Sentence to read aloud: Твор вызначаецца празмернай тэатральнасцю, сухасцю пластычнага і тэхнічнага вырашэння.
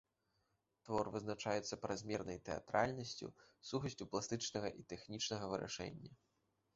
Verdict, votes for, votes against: accepted, 2, 0